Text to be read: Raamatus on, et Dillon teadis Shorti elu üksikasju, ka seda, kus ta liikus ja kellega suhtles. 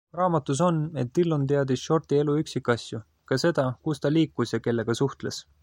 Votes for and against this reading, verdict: 2, 0, accepted